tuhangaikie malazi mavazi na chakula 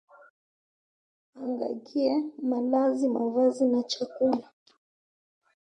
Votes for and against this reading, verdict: 1, 3, rejected